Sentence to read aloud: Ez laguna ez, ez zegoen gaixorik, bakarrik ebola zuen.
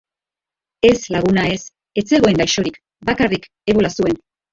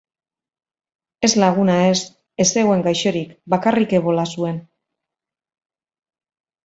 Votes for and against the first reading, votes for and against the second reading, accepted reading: 1, 2, 3, 0, second